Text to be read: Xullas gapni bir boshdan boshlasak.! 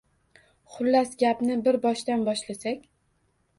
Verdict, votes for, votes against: accepted, 2, 0